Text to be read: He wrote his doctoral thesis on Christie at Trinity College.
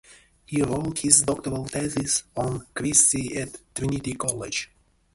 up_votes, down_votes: 0, 2